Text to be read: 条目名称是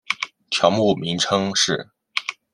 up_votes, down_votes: 2, 0